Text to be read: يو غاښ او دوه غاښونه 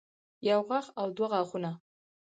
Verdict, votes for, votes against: accepted, 4, 0